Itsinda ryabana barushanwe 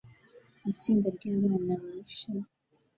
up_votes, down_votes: 0, 2